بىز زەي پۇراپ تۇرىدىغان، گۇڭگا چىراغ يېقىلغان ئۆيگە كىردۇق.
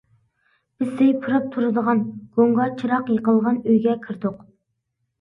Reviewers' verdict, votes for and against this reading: rejected, 0, 2